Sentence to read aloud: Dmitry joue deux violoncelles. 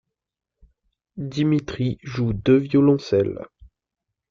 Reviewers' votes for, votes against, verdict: 0, 2, rejected